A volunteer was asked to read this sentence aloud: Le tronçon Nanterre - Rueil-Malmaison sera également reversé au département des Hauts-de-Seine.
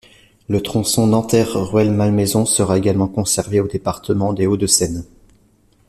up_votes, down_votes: 1, 2